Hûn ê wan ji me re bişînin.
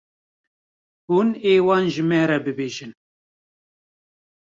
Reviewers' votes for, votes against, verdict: 0, 2, rejected